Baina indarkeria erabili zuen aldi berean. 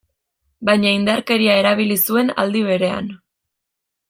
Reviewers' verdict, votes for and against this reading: accepted, 2, 0